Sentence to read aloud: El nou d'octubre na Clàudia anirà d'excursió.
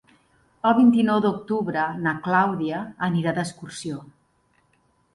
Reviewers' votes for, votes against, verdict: 0, 2, rejected